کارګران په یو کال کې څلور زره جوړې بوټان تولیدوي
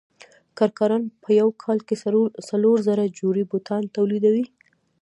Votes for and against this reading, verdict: 0, 2, rejected